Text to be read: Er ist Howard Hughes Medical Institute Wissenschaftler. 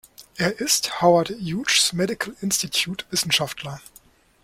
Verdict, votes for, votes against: rejected, 1, 2